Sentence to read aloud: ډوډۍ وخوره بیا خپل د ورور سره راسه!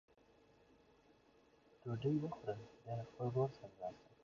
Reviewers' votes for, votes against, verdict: 1, 2, rejected